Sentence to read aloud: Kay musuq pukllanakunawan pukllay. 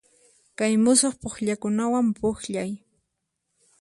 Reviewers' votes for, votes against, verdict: 0, 4, rejected